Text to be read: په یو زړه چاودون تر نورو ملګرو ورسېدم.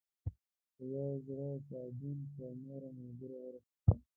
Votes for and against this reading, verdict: 1, 2, rejected